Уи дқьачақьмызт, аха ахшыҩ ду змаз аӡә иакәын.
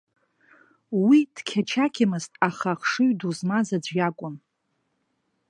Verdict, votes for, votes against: rejected, 1, 2